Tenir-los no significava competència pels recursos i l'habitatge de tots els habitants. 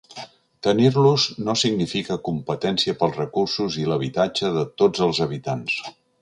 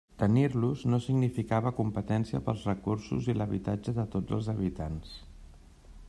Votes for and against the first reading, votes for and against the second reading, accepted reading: 1, 2, 3, 0, second